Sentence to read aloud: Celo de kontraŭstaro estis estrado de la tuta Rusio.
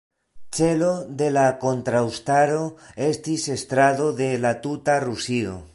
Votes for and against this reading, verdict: 0, 2, rejected